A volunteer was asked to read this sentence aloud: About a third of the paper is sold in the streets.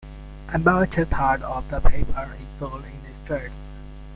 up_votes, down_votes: 2, 0